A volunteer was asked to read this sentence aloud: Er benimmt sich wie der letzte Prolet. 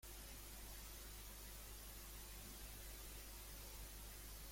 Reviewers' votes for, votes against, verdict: 0, 2, rejected